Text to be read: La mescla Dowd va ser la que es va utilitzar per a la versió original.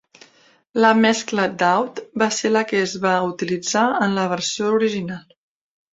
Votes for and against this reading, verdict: 0, 2, rejected